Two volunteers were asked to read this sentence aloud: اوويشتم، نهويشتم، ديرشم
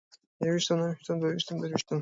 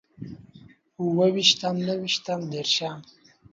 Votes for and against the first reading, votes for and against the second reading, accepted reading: 1, 2, 2, 0, second